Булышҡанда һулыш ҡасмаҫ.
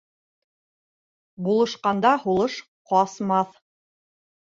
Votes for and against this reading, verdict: 2, 0, accepted